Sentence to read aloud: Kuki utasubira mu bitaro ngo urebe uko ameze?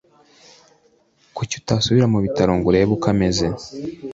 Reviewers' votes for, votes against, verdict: 2, 0, accepted